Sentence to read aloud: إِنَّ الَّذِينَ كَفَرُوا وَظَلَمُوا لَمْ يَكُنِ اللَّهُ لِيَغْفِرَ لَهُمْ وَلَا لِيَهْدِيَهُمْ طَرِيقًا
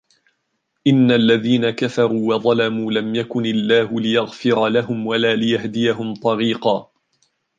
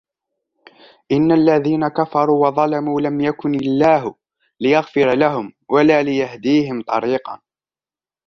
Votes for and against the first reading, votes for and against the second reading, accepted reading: 2, 0, 1, 2, first